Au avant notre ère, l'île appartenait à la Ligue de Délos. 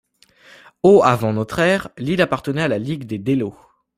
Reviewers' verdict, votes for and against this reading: rejected, 0, 2